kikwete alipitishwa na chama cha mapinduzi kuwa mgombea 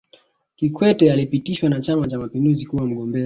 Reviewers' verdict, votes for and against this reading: rejected, 0, 2